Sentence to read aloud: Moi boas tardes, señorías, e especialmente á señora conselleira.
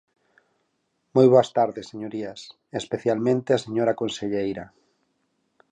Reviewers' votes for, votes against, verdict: 4, 0, accepted